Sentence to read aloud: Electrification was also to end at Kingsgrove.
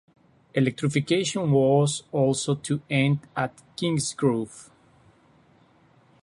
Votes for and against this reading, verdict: 2, 0, accepted